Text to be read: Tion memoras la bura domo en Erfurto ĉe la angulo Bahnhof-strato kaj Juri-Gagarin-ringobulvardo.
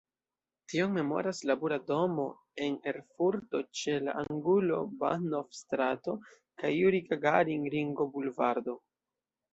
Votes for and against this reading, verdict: 2, 0, accepted